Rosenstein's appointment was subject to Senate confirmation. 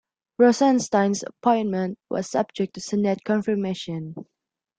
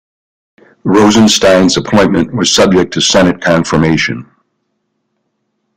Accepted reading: second